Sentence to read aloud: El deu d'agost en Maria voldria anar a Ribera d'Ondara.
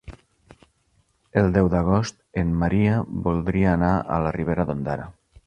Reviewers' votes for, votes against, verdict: 1, 2, rejected